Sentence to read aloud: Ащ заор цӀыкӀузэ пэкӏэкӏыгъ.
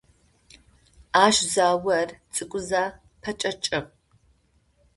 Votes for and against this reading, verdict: 2, 0, accepted